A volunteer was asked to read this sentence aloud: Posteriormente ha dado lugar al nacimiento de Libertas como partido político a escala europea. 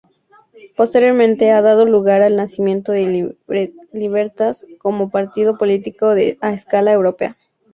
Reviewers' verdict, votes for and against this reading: accepted, 2, 0